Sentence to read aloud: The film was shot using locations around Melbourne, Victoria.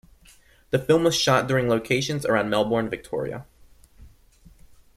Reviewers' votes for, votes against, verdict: 0, 2, rejected